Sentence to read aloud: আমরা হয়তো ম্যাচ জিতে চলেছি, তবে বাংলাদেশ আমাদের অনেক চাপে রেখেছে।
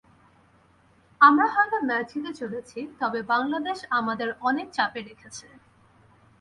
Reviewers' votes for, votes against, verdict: 0, 2, rejected